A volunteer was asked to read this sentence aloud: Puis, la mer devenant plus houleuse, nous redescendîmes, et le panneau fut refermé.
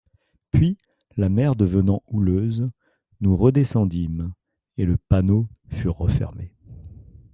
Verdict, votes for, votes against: rejected, 1, 2